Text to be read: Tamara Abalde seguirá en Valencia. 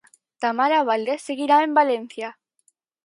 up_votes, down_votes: 0, 4